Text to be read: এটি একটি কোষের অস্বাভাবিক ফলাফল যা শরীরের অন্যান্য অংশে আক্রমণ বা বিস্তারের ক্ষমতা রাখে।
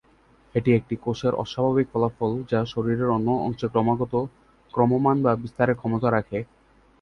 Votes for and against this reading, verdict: 1, 2, rejected